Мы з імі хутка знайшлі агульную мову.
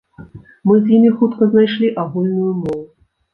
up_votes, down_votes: 1, 2